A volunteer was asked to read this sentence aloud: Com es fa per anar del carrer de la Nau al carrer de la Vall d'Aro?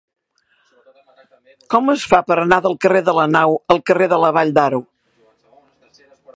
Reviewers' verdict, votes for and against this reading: accepted, 4, 0